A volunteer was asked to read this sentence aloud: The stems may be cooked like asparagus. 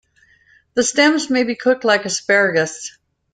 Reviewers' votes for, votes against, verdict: 2, 0, accepted